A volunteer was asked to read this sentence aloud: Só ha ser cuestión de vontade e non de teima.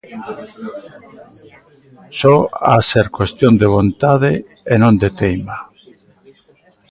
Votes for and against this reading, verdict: 1, 2, rejected